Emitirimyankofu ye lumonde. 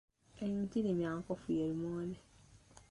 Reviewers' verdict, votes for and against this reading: rejected, 0, 2